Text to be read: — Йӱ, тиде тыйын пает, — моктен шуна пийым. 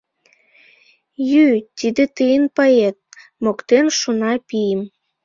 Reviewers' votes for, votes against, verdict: 2, 1, accepted